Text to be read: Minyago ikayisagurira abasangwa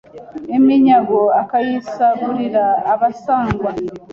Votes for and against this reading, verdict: 0, 2, rejected